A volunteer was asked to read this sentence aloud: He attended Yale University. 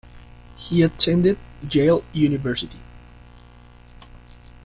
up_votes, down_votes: 1, 2